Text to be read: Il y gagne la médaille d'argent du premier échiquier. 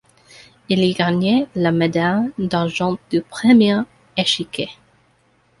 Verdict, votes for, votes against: rejected, 0, 2